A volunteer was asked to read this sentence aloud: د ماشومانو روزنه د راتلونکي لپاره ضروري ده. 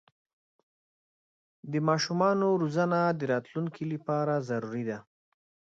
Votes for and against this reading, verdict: 2, 0, accepted